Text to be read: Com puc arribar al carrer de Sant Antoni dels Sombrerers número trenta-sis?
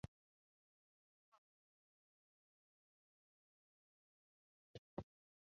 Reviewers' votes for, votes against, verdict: 0, 2, rejected